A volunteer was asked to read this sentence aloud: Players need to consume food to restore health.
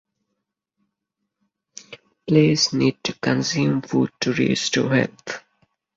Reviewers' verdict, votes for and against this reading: rejected, 2, 4